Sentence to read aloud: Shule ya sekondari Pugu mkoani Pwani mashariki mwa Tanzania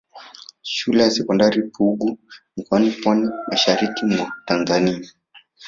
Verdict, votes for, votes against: accepted, 2, 0